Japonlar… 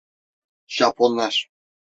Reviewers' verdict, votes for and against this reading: accepted, 2, 0